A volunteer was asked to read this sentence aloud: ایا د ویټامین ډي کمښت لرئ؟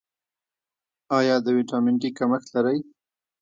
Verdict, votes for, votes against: accepted, 2, 1